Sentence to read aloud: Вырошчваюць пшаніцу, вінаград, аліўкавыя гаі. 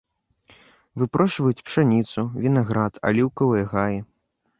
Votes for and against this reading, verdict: 0, 2, rejected